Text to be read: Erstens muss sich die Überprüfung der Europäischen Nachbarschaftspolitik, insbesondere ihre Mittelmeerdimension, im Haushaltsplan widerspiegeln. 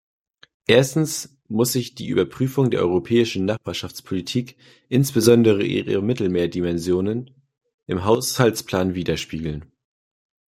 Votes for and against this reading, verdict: 1, 2, rejected